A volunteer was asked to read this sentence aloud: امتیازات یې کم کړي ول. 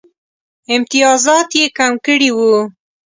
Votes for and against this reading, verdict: 1, 2, rejected